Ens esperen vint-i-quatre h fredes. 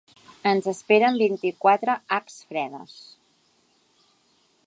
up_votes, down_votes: 2, 0